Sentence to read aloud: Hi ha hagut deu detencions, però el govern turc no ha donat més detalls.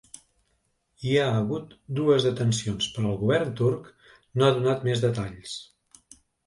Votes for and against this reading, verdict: 0, 2, rejected